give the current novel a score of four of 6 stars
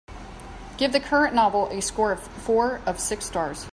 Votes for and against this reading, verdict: 0, 2, rejected